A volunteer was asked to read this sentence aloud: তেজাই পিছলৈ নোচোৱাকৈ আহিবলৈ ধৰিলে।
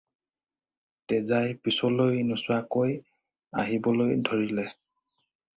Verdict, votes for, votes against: accepted, 4, 0